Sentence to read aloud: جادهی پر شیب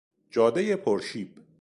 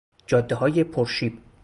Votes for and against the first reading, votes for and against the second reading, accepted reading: 2, 0, 0, 2, first